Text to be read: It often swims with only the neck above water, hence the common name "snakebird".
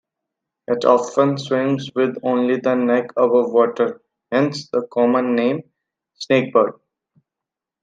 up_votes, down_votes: 2, 0